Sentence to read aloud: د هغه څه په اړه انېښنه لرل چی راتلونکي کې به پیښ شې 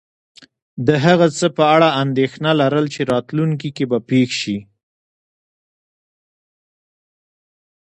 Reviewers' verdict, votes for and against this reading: accepted, 2, 1